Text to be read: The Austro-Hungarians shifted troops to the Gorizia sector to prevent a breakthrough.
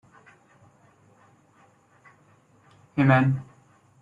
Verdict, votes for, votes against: rejected, 0, 2